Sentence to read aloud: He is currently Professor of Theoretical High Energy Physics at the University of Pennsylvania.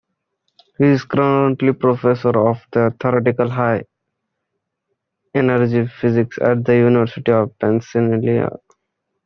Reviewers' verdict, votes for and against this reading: rejected, 1, 2